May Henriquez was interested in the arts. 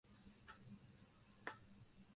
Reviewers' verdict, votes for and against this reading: rejected, 0, 6